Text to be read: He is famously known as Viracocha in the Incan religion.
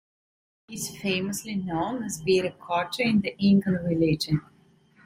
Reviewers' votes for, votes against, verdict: 2, 0, accepted